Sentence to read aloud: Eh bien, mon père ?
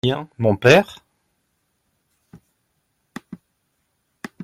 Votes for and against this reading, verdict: 0, 2, rejected